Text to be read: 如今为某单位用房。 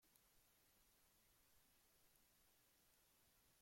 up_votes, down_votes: 0, 2